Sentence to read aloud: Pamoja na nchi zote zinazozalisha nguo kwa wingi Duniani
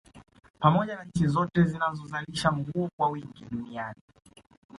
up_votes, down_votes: 2, 0